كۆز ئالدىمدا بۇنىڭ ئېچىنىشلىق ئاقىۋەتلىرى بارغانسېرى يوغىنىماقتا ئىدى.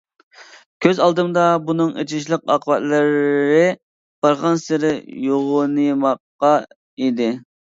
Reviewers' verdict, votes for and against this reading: rejected, 0, 2